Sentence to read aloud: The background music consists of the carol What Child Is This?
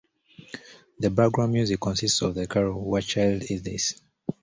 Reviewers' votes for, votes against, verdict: 0, 2, rejected